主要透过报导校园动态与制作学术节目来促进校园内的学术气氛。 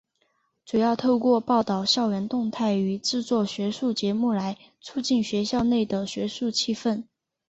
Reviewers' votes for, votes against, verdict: 1, 2, rejected